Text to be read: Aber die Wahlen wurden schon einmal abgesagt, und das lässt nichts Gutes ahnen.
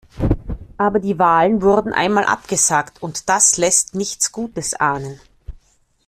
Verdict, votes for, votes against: rejected, 1, 2